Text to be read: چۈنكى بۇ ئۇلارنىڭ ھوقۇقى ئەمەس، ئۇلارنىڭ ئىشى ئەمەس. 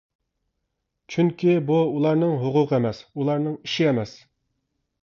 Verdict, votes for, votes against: accepted, 2, 0